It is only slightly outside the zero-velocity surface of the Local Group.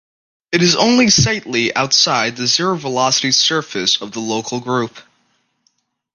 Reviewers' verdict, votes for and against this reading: accepted, 2, 0